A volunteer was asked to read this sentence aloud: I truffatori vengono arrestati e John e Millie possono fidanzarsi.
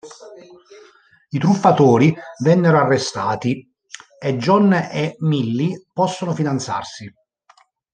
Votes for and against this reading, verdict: 1, 2, rejected